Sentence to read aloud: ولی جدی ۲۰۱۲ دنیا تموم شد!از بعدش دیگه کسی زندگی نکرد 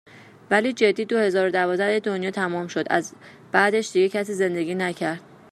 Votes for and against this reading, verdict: 0, 2, rejected